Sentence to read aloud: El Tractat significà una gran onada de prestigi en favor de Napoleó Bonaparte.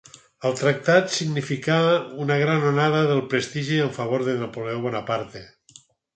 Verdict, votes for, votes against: rejected, 2, 4